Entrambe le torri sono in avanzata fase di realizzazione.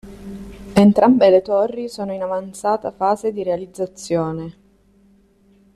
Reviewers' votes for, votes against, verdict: 0, 2, rejected